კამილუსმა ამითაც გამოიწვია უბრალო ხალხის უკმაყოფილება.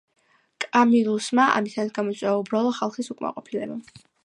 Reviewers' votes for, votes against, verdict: 0, 2, rejected